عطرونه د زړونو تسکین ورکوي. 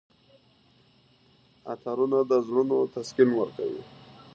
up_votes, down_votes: 2, 1